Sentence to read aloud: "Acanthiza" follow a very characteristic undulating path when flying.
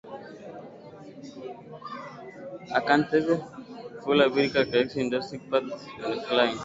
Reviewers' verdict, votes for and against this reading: rejected, 0, 2